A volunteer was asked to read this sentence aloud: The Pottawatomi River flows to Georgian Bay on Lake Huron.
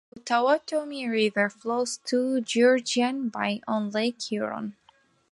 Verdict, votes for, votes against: rejected, 1, 2